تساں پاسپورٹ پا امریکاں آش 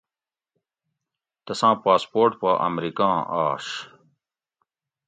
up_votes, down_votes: 2, 0